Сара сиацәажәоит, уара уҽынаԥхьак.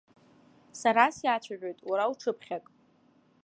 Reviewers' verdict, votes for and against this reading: rejected, 1, 2